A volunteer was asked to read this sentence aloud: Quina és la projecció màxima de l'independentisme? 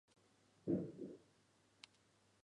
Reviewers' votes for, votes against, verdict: 0, 2, rejected